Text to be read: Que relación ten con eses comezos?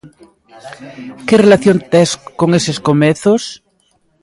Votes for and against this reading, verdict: 0, 2, rejected